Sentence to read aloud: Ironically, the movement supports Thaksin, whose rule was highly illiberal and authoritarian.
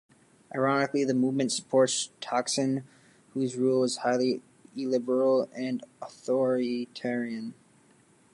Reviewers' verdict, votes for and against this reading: rejected, 1, 2